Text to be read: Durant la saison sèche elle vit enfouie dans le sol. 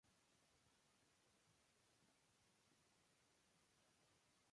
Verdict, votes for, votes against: rejected, 0, 2